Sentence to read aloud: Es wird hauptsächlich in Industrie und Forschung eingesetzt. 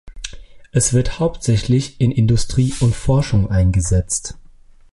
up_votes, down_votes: 2, 0